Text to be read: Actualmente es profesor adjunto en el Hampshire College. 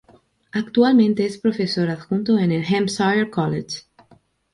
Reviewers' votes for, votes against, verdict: 2, 0, accepted